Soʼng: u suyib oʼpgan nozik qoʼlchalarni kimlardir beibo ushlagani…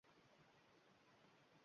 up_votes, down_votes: 0, 2